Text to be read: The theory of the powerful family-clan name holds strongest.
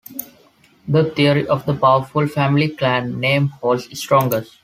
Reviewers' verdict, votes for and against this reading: accepted, 2, 0